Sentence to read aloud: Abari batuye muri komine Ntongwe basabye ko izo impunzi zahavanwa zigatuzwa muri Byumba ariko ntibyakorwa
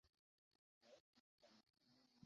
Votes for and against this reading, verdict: 0, 2, rejected